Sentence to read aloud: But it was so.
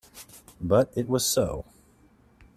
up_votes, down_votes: 2, 0